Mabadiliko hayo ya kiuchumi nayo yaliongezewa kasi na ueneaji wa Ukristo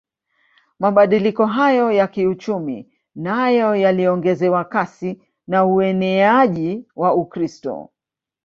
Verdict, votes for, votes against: rejected, 1, 2